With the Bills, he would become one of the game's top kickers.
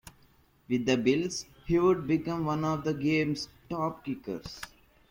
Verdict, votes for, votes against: accepted, 2, 0